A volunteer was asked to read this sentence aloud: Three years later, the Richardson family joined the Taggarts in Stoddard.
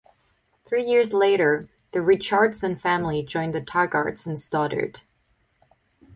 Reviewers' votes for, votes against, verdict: 2, 0, accepted